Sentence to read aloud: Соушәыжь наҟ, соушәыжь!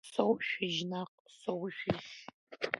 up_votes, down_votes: 0, 2